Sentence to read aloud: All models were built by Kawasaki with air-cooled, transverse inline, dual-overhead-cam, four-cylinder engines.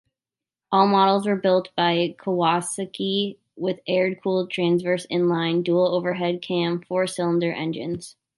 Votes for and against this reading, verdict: 2, 0, accepted